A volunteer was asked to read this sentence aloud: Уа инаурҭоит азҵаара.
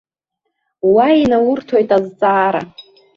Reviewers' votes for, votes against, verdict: 2, 0, accepted